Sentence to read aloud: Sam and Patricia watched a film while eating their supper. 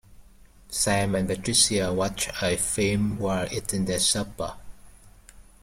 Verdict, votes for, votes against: rejected, 1, 2